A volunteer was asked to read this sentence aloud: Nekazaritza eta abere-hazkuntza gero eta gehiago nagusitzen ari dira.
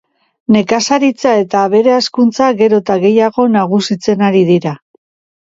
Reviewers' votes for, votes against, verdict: 2, 0, accepted